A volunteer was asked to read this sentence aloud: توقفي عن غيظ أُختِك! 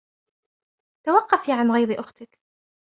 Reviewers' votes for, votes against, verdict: 2, 0, accepted